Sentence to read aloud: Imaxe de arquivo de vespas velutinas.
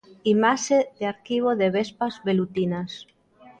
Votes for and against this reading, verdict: 2, 0, accepted